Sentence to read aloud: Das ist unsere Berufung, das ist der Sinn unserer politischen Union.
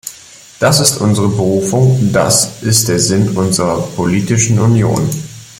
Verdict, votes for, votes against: rejected, 1, 2